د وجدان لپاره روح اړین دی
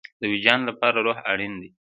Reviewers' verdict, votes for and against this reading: rejected, 1, 2